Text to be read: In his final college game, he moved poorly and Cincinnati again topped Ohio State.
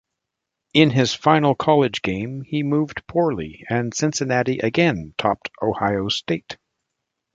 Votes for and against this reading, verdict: 2, 0, accepted